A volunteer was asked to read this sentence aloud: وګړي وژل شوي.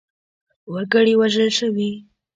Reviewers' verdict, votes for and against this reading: rejected, 0, 2